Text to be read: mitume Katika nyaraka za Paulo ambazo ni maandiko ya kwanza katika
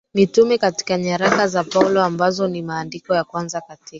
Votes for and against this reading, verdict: 2, 1, accepted